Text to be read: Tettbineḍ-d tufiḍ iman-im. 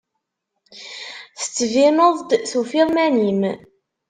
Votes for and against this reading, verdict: 0, 2, rejected